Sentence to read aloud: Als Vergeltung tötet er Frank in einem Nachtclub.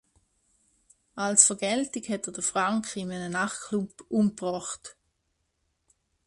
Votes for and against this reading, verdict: 0, 2, rejected